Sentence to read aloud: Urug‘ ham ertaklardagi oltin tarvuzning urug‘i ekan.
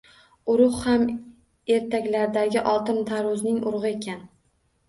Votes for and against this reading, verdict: 1, 2, rejected